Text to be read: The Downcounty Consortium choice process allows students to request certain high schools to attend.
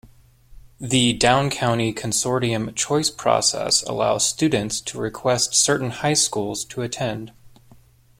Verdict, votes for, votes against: accepted, 2, 0